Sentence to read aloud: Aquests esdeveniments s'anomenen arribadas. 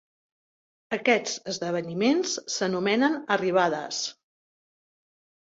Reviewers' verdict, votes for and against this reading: accepted, 2, 0